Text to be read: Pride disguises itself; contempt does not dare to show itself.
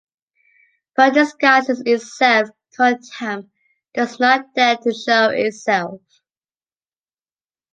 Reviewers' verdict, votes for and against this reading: accepted, 2, 1